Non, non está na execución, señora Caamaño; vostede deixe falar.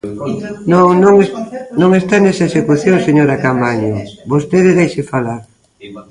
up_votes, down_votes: 0, 2